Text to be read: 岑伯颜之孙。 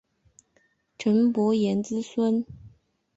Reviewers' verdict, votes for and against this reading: accepted, 2, 0